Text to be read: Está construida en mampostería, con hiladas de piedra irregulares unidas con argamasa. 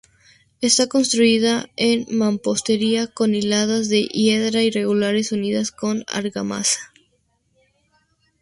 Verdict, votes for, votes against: rejected, 0, 2